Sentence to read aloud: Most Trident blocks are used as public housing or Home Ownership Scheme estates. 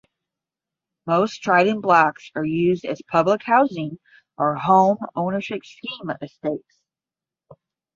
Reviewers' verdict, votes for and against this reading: rejected, 5, 5